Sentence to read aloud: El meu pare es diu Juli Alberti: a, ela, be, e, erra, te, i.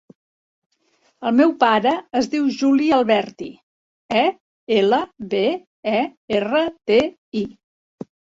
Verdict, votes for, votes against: rejected, 1, 2